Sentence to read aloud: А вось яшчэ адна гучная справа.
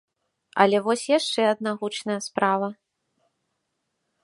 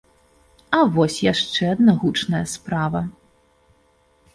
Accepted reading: second